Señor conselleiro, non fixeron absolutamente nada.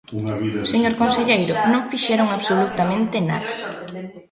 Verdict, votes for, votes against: accepted, 2, 0